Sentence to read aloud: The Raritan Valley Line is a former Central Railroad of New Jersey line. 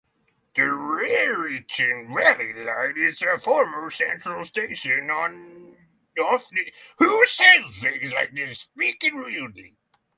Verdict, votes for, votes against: rejected, 0, 6